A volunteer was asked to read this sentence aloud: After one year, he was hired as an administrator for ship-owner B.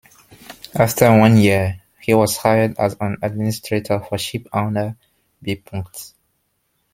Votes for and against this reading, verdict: 1, 2, rejected